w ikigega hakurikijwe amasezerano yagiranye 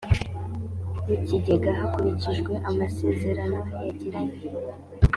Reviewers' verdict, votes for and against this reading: accepted, 3, 0